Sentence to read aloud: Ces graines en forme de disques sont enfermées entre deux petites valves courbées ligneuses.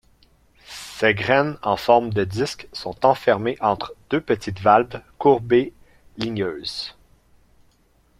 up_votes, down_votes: 2, 0